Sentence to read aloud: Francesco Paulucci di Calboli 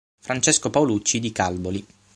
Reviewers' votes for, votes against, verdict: 6, 0, accepted